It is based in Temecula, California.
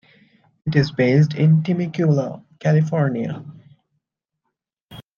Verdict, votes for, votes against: accepted, 2, 0